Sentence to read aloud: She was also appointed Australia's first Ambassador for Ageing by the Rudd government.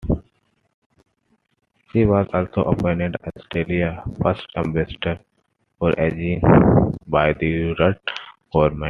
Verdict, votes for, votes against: rejected, 0, 2